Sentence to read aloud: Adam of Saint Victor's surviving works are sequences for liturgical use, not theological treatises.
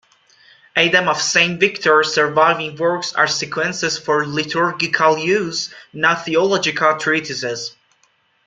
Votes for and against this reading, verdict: 1, 2, rejected